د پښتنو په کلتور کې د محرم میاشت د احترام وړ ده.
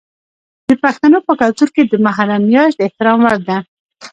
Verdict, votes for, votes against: rejected, 1, 2